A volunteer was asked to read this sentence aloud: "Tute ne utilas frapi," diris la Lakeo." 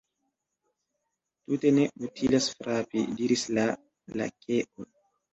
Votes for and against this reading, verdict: 1, 2, rejected